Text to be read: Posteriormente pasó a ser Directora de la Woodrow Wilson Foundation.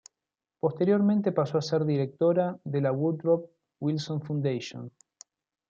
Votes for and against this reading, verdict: 2, 0, accepted